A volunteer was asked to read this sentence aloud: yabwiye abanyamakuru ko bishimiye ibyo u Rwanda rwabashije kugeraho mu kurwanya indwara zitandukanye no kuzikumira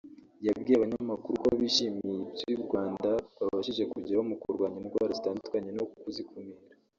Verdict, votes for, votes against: rejected, 0, 2